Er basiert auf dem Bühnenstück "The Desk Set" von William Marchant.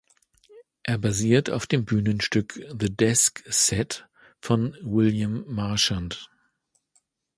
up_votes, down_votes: 2, 0